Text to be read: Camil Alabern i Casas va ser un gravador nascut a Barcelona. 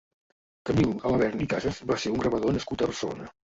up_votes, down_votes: 0, 2